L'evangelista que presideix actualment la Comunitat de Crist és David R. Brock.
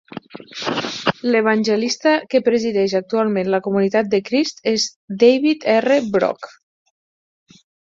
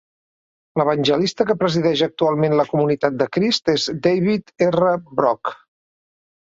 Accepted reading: second